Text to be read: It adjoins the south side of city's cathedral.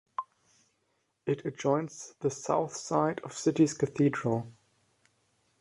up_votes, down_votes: 2, 0